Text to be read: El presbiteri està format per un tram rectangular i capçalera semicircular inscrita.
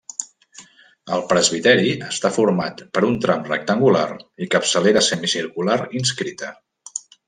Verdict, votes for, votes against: accepted, 3, 0